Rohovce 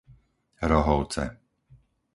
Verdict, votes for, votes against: accepted, 4, 0